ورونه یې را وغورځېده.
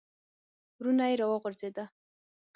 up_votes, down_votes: 6, 0